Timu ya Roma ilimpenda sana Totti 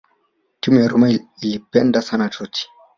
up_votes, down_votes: 0, 2